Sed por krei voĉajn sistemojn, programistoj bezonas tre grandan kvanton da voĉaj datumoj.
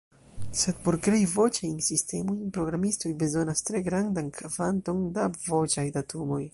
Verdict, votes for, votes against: rejected, 1, 2